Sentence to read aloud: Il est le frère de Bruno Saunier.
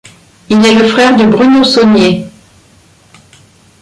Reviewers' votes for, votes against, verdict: 1, 2, rejected